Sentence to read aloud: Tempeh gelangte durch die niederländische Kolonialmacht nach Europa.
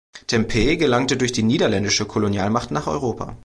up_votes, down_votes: 2, 0